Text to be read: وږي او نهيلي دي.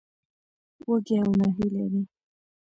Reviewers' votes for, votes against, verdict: 2, 1, accepted